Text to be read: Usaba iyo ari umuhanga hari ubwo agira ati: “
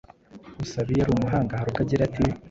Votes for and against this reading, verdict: 0, 2, rejected